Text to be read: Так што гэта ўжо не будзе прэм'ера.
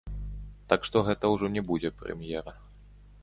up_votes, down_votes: 1, 2